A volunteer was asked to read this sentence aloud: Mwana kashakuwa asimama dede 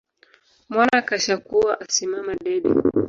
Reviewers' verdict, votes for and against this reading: accepted, 2, 0